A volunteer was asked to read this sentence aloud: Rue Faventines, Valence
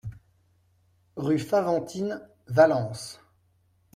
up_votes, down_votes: 2, 0